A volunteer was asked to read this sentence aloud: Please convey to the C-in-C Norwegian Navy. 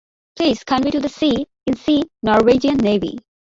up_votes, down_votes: 0, 3